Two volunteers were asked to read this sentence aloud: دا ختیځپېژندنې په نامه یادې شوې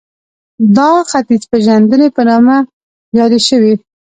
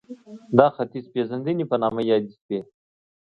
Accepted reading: second